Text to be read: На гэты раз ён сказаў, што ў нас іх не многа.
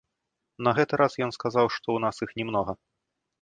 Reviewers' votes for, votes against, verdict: 1, 2, rejected